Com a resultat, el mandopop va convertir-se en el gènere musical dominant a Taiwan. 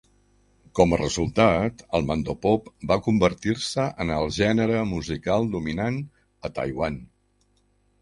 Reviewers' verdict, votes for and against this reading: accepted, 3, 0